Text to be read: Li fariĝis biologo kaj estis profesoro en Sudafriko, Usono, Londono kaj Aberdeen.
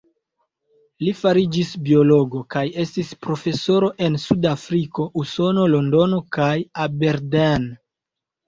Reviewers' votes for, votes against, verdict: 1, 2, rejected